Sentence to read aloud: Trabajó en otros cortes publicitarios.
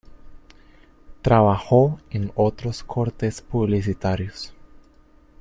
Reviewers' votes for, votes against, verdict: 2, 1, accepted